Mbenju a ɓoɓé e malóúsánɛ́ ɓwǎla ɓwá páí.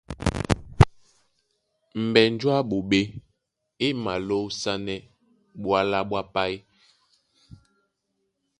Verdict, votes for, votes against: rejected, 0, 2